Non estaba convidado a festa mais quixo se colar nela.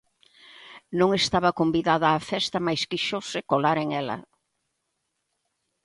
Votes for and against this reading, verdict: 0, 3, rejected